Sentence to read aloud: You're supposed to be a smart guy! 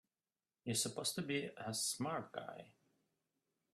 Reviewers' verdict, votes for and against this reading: rejected, 0, 2